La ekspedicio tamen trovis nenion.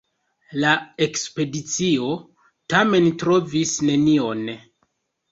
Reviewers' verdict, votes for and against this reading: accepted, 2, 0